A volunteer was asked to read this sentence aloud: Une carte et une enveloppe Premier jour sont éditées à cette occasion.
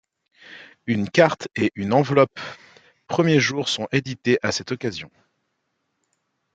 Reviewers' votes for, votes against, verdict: 2, 1, accepted